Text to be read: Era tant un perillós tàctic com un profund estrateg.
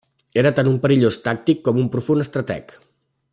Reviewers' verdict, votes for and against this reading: accepted, 2, 0